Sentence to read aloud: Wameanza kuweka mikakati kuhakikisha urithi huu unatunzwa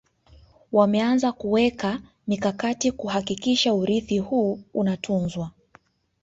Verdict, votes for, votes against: accepted, 2, 0